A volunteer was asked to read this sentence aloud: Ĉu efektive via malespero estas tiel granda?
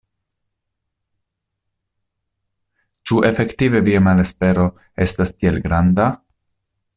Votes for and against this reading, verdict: 2, 0, accepted